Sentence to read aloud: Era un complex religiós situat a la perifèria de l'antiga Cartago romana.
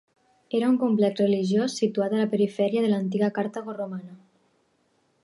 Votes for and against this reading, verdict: 4, 0, accepted